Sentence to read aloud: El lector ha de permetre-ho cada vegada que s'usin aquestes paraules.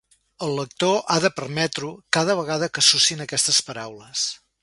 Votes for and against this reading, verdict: 0, 2, rejected